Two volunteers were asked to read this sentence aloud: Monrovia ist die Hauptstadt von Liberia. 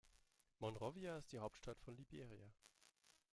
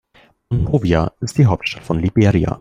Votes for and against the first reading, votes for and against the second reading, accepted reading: 2, 0, 0, 2, first